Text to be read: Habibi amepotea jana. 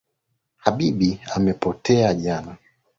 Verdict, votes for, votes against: accepted, 2, 0